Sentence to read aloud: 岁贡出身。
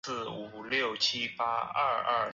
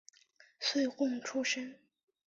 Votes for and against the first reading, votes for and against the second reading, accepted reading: 0, 4, 3, 0, second